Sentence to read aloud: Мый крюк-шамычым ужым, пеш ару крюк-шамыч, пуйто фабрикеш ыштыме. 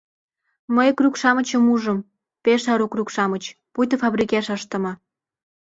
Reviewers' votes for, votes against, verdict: 2, 0, accepted